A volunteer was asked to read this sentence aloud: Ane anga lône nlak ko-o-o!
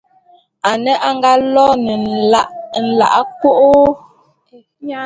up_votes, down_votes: 2, 1